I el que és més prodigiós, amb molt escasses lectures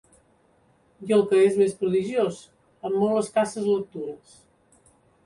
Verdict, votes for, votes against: accepted, 3, 0